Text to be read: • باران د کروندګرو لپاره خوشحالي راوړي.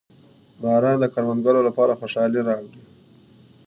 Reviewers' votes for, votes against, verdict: 2, 0, accepted